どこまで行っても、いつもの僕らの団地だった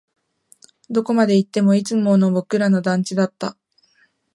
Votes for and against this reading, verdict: 2, 0, accepted